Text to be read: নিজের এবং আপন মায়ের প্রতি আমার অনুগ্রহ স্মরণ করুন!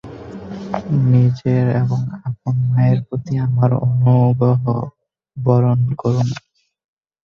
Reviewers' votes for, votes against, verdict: 0, 4, rejected